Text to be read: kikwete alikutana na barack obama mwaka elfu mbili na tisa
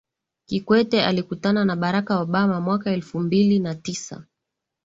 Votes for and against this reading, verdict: 3, 0, accepted